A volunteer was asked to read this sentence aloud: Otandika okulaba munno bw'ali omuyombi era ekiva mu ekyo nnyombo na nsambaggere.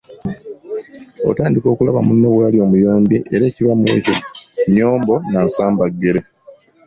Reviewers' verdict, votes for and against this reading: accepted, 2, 1